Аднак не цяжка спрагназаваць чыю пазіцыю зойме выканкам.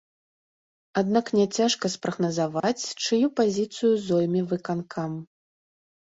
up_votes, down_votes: 0, 2